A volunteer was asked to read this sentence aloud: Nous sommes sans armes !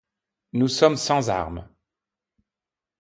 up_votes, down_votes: 2, 0